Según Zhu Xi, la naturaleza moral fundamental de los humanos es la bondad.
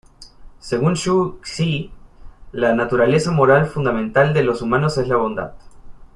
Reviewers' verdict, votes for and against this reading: accepted, 2, 0